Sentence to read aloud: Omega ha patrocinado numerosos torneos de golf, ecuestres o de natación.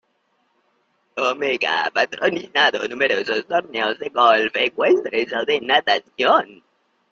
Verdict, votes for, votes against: rejected, 0, 2